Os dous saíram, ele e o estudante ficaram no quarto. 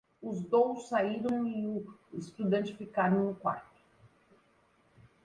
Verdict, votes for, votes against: rejected, 0, 2